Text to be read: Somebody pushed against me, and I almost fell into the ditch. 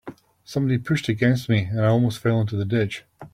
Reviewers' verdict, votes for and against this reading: accepted, 2, 0